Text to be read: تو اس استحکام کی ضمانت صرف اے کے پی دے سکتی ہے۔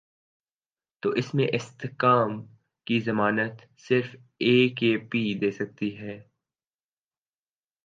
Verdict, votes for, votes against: accepted, 2, 0